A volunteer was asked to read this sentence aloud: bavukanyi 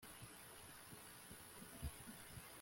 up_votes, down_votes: 0, 2